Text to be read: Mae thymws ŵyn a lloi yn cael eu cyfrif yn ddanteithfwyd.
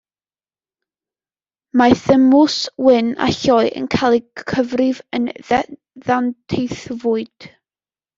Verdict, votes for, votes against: rejected, 0, 2